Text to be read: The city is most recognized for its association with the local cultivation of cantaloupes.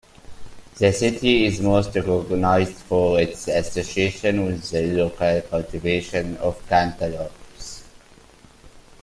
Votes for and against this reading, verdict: 2, 0, accepted